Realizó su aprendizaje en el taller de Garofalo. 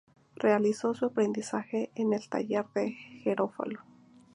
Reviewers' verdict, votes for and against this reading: rejected, 0, 2